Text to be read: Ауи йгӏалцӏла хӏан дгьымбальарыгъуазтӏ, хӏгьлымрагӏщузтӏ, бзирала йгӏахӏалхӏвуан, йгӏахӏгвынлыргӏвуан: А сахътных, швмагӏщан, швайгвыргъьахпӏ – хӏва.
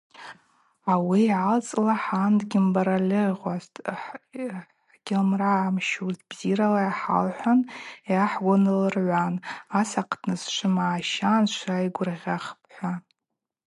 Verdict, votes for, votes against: rejected, 0, 2